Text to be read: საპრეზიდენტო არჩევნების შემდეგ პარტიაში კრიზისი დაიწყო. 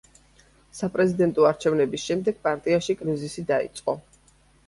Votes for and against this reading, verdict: 2, 0, accepted